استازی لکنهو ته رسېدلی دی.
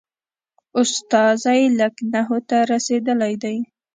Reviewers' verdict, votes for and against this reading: rejected, 1, 2